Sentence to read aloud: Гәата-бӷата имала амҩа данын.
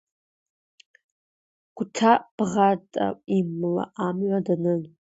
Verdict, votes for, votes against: accepted, 2, 1